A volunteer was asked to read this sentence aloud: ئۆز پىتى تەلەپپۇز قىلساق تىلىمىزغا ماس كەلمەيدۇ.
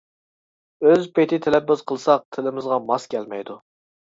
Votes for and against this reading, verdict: 2, 0, accepted